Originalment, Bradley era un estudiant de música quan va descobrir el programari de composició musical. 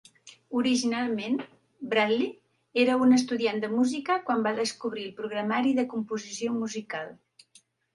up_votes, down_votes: 0, 2